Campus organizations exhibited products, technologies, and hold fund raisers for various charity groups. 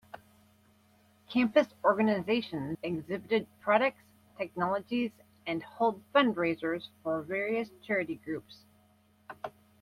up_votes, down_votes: 2, 0